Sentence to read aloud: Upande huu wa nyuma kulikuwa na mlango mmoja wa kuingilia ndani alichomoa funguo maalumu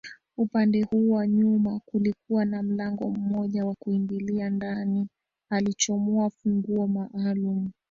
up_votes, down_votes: 0, 2